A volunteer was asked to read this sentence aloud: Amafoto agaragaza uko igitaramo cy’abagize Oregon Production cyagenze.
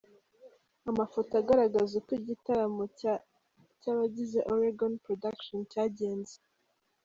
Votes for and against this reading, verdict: 0, 2, rejected